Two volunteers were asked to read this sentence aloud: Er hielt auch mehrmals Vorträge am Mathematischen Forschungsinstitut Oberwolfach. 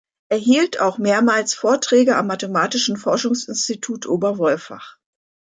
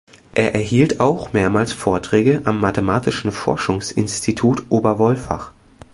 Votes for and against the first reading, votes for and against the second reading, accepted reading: 2, 0, 0, 2, first